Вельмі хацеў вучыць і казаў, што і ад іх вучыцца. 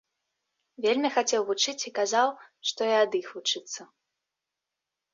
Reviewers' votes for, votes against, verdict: 2, 3, rejected